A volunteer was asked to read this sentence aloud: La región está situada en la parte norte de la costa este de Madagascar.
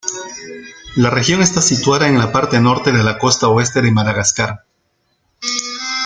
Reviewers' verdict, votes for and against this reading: rejected, 1, 2